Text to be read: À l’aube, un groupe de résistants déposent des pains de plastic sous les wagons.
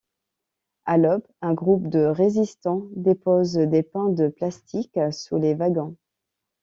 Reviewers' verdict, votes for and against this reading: accepted, 2, 0